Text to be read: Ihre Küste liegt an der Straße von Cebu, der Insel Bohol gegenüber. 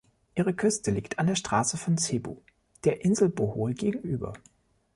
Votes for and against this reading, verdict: 2, 0, accepted